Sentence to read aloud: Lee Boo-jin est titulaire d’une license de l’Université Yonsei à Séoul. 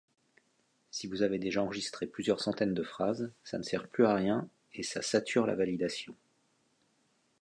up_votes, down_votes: 0, 2